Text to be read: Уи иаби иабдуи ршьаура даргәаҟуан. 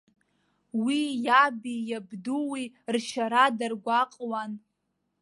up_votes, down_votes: 1, 2